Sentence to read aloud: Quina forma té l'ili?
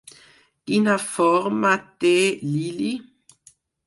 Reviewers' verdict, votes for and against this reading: accepted, 4, 0